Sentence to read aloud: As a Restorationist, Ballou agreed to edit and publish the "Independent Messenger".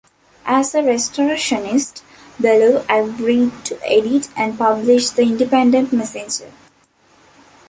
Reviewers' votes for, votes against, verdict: 2, 0, accepted